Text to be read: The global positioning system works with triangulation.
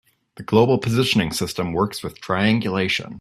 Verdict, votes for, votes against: accepted, 2, 0